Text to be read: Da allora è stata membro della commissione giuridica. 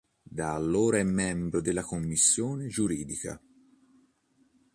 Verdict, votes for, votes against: rejected, 1, 2